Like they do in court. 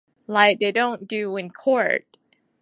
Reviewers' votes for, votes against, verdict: 0, 2, rejected